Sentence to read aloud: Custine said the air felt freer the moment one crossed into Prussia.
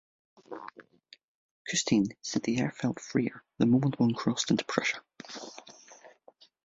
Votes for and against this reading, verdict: 2, 0, accepted